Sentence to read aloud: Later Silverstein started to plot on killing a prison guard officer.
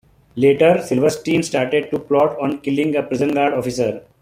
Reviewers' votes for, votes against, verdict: 1, 2, rejected